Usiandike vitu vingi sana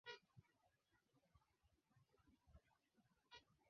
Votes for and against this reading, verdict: 0, 5, rejected